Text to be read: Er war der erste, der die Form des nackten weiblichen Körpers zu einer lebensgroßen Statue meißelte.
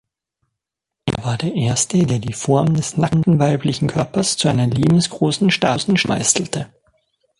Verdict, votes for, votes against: rejected, 0, 2